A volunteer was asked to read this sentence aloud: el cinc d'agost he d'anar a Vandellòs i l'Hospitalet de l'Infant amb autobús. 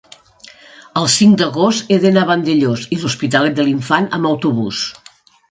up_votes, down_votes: 3, 0